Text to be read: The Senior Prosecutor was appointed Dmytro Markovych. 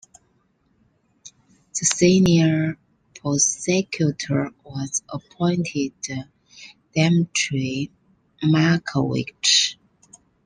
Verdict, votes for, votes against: rejected, 0, 2